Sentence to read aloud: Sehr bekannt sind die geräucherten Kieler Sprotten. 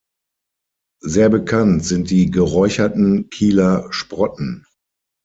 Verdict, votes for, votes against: accepted, 6, 0